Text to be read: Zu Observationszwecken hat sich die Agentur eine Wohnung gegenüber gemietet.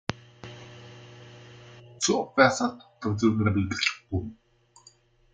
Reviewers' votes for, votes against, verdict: 0, 2, rejected